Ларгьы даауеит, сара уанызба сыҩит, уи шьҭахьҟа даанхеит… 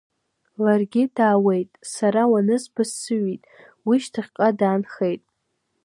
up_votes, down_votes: 2, 0